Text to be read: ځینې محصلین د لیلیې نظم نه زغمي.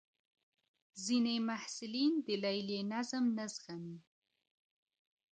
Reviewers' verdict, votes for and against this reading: accepted, 2, 0